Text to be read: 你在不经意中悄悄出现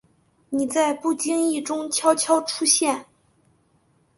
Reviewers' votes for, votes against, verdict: 2, 0, accepted